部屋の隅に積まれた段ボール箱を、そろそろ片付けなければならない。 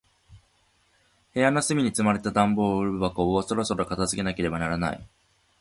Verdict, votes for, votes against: accepted, 2, 0